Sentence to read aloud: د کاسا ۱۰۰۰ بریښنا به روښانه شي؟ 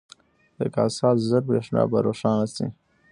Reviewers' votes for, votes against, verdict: 0, 2, rejected